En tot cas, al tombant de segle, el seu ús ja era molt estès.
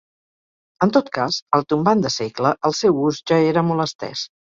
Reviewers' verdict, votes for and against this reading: accepted, 4, 0